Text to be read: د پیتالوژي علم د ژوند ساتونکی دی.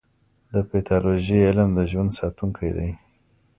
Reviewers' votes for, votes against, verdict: 2, 0, accepted